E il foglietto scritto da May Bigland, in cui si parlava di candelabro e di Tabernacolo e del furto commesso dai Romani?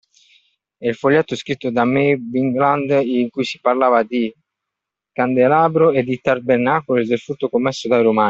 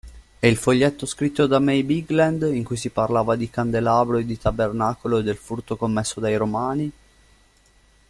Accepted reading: second